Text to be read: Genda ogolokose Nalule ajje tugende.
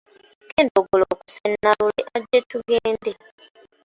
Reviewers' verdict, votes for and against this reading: rejected, 0, 2